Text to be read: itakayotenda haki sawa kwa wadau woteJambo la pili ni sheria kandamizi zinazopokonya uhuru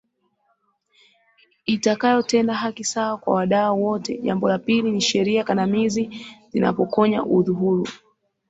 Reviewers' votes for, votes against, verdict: 1, 4, rejected